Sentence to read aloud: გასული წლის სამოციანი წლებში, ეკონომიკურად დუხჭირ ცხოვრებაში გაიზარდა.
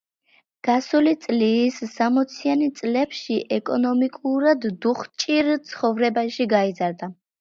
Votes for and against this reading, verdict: 2, 0, accepted